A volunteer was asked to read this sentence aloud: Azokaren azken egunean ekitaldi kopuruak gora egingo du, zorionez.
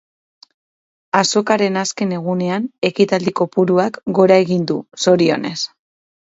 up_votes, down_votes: 0, 4